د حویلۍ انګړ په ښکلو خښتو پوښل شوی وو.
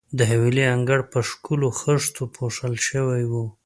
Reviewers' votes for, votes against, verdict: 2, 0, accepted